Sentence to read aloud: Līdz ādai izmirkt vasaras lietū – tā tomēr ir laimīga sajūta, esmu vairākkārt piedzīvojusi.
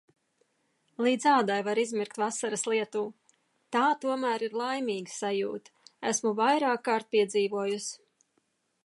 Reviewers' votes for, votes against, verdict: 0, 2, rejected